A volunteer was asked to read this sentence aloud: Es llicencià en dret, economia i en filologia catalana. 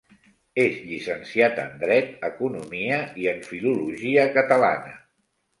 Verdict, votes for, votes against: rejected, 0, 2